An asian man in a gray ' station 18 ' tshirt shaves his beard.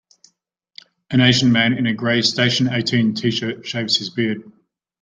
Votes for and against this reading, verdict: 0, 2, rejected